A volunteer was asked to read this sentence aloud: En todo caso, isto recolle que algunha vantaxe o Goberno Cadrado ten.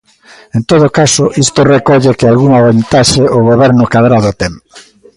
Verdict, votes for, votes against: rejected, 1, 2